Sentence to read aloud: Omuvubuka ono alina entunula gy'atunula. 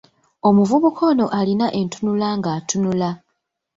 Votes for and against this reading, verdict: 0, 2, rejected